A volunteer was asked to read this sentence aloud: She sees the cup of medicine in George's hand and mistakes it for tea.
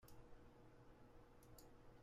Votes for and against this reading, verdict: 0, 2, rejected